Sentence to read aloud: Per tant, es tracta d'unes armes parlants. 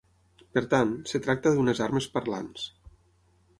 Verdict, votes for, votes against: rejected, 3, 6